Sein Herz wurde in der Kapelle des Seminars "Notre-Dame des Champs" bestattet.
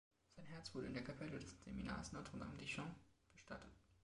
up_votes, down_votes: 2, 3